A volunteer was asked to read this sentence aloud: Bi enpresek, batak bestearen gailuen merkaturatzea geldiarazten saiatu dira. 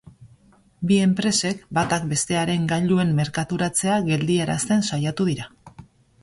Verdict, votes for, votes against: accepted, 3, 0